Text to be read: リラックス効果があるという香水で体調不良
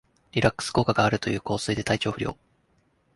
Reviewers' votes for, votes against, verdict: 3, 0, accepted